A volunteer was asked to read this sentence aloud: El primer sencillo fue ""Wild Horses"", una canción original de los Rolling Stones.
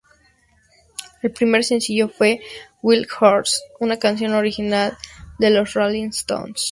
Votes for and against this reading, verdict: 2, 0, accepted